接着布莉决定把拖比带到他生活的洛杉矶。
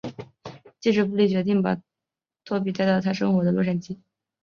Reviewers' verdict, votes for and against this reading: rejected, 1, 2